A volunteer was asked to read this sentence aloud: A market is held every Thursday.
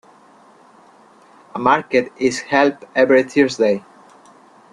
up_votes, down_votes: 2, 0